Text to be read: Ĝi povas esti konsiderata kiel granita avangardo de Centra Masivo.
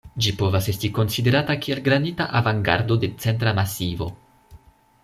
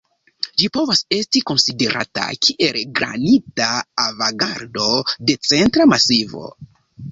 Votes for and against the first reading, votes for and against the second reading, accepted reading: 2, 0, 0, 2, first